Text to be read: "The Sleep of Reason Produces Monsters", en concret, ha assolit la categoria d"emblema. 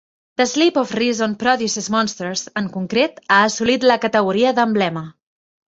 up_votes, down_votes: 2, 0